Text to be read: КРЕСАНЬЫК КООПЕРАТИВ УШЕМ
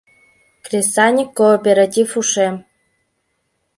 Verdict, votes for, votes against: accepted, 2, 0